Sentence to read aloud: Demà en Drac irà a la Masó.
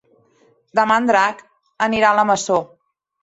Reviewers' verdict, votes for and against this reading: rejected, 0, 2